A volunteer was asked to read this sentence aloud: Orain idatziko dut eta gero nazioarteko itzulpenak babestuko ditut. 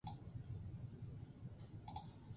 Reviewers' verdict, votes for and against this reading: rejected, 0, 4